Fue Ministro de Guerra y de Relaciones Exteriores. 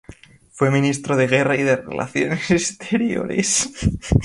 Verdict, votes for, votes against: rejected, 0, 2